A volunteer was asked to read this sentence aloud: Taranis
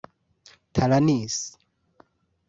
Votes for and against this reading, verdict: 1, 2, rejected